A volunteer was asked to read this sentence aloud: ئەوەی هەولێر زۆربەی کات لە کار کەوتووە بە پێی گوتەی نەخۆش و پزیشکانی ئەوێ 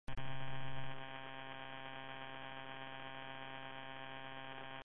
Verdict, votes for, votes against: rejected, 0, 3